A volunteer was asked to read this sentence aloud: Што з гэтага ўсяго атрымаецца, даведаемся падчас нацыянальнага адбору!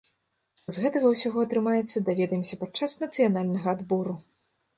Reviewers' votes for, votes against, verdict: 1, 2, rejected